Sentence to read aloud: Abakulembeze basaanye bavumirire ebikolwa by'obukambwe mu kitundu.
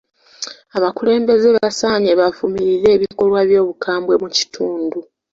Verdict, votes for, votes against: accepted, 2, 0